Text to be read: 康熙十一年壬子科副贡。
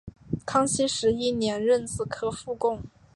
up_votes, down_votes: 2, 0